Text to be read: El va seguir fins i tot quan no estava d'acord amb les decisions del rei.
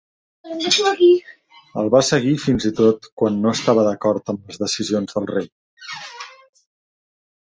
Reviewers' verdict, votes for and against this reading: rejected, 1, 2